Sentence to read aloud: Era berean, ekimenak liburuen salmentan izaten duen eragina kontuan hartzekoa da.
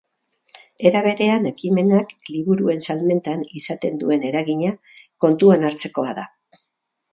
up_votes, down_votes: 4, 0